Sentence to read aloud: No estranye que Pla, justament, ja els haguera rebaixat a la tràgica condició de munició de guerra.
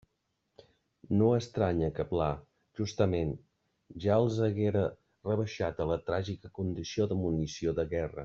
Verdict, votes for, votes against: accepted, 2, 1